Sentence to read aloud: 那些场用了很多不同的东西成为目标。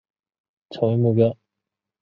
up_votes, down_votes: 0, 4